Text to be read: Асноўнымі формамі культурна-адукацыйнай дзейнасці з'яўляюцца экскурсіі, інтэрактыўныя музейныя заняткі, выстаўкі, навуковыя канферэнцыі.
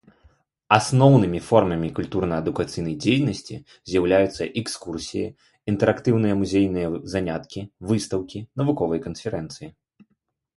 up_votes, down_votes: 2, 0